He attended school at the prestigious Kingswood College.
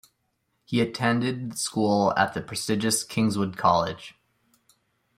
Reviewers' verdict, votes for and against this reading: accepted, 2, 0